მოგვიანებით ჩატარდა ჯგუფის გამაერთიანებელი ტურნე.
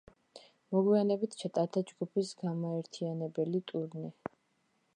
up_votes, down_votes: 2, 0